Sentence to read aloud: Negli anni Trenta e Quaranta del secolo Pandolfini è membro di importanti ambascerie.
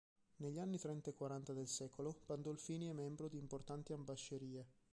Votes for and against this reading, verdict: 1, 2, rejected